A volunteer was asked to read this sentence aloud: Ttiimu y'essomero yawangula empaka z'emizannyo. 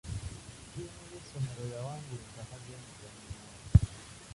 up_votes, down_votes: 0, 2